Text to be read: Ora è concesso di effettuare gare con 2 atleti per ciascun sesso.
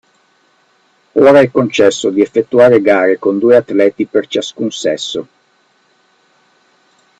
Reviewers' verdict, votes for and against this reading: rejected, 0, 2